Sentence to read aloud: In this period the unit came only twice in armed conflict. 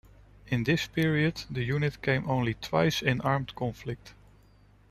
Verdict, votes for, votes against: accepted, 2, 1